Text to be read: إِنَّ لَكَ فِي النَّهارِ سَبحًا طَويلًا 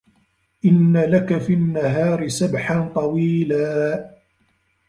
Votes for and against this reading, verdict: 0, 2, rejected